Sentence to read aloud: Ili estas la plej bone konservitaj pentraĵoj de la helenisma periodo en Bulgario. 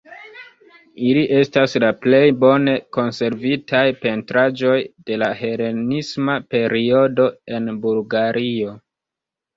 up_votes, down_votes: 1, 2